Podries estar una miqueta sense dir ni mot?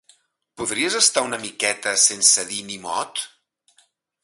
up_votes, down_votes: 2, 0